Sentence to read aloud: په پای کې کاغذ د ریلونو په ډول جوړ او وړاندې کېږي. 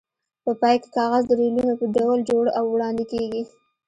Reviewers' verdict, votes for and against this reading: accepted, 2, 0